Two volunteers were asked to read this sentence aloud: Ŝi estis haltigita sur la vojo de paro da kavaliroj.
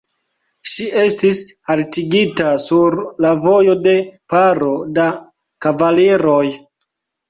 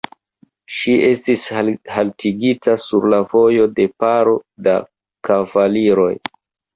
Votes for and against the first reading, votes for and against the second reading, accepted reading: 2, 0, 1, 2, first